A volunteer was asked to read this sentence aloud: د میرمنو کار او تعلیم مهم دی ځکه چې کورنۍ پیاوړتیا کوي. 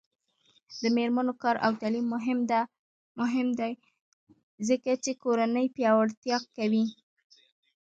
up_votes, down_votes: 2, 0